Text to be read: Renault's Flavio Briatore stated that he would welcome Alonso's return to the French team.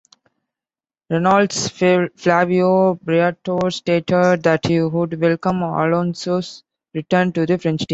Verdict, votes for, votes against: rejected, 1, 2